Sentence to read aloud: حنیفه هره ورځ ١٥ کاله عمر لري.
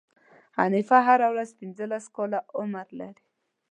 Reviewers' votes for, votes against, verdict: 0, 2, rejected